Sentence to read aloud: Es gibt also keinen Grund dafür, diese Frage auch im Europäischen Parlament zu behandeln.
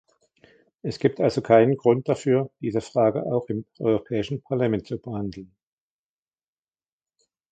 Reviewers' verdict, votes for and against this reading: rejected, 1, 2